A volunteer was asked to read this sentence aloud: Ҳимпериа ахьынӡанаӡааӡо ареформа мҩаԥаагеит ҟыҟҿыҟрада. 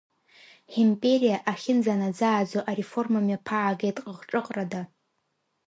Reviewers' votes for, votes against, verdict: 2, 0, accepted